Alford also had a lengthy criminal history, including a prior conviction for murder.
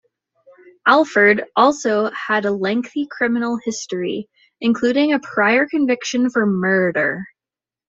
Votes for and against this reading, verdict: 2, 0, accepted